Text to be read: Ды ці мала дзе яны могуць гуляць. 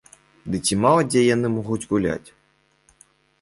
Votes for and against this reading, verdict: 2, 0, accepted